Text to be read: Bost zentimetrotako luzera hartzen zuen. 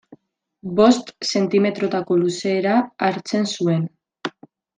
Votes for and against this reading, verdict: 1, 2, rejected